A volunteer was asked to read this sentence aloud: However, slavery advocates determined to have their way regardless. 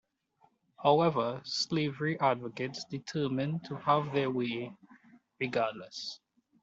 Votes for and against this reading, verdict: 1, 2, rejected